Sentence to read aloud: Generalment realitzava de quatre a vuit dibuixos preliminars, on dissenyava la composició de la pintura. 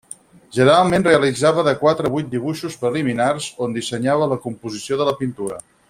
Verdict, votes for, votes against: rejected, 0, 4